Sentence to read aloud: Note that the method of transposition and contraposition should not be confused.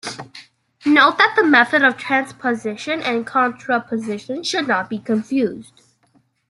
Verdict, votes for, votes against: accepted, 2, 0